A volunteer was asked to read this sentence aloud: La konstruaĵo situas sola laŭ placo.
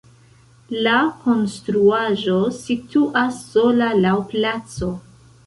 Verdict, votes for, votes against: rejected, 1, 2